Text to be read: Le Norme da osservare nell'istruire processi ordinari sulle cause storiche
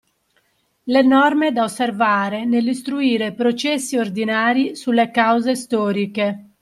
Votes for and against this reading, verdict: 2, 0, accepted